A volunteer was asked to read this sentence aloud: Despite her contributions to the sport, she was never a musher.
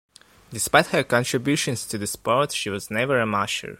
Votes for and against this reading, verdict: 2, 1, accepted